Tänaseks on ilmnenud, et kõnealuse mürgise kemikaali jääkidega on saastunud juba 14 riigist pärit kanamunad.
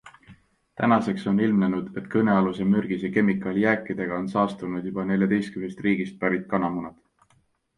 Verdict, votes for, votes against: rejected, 0, 2